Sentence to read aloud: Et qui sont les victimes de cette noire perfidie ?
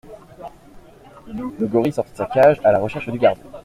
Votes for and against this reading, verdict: 0, 2, rejected